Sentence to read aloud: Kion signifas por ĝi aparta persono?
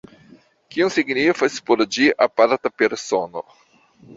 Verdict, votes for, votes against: rejected, 1, 2